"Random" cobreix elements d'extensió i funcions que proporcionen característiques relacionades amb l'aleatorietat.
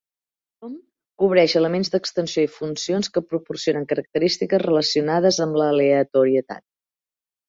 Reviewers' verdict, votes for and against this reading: rejected, 0, 4